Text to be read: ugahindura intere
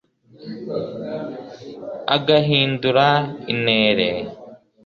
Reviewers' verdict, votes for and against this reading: rejected, 1, 2